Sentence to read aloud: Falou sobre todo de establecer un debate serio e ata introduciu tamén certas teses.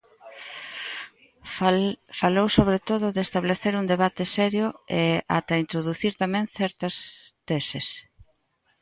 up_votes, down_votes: 0, 2